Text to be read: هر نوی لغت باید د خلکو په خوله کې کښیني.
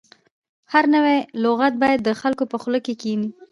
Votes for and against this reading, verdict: 1, 2, rejected